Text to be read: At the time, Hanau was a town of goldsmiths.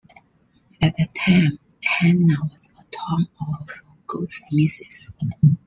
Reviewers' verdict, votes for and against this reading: rejected, 1, 3